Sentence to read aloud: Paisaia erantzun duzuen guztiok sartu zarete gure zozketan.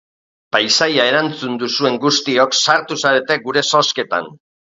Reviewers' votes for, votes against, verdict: 3, 0, accepted